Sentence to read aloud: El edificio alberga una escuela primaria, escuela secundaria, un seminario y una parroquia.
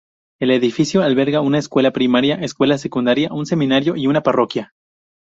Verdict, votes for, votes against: rejected, 2, 2